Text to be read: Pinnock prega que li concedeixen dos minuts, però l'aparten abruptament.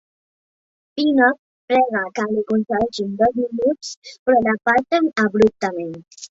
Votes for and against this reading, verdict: 0, 3, rejected